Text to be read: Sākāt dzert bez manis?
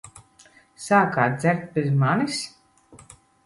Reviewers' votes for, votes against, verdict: 2, 0, accepted